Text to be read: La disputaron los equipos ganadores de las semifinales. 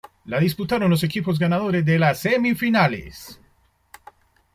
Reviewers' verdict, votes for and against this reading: accepted, 2, 0